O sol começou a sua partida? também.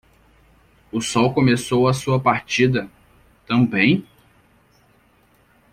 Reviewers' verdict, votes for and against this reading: accepted, 2, 0